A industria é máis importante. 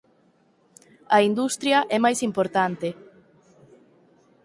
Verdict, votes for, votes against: accepted, 6, 0